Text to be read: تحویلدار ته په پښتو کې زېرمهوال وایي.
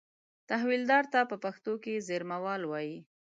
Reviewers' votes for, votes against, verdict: 2, 0, accepted